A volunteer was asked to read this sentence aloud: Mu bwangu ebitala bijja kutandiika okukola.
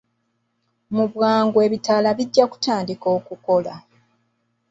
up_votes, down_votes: 0, 2